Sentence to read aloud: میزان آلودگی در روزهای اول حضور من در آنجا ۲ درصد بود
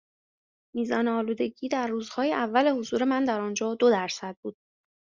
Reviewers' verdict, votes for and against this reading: rejected, 0, 2